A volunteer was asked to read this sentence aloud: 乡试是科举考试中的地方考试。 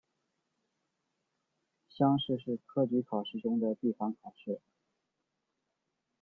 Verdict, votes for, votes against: accepted, 2, 0